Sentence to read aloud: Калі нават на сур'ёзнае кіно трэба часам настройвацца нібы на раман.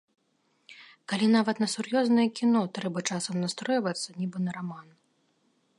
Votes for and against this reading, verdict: 2, 0, accepted